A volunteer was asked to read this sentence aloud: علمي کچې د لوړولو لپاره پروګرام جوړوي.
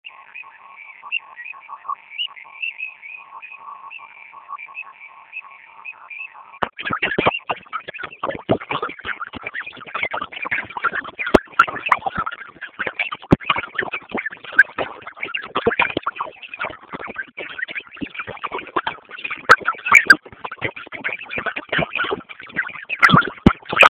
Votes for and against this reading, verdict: 0, 2, rejected